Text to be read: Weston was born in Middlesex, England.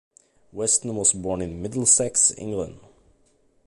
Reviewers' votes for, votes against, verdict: 2, 0, accepted